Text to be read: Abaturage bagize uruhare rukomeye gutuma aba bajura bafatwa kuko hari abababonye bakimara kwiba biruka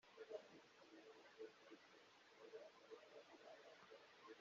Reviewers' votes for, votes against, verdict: 0, 2, rejected